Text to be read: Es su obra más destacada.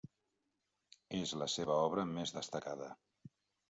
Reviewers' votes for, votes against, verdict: 0, 2, rejected